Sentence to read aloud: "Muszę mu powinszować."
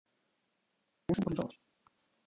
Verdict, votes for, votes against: rejected, 0, 2